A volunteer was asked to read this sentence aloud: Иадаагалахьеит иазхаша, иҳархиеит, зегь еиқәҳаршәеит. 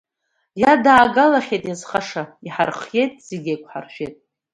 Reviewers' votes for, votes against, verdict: 2, 1, accepted